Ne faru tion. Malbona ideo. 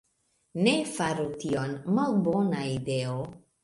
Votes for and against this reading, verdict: 2, 0, accepted